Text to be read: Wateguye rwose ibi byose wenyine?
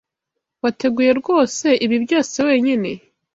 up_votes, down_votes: 2, 0